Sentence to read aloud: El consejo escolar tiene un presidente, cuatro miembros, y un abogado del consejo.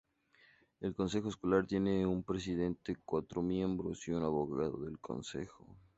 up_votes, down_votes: 2, 0